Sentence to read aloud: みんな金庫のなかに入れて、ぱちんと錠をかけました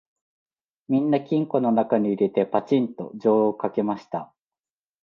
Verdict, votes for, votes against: accepted, 2, 0